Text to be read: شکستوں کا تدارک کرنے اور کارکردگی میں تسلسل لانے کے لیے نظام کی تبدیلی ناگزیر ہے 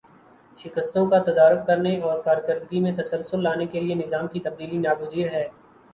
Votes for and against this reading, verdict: 2, 0, accepted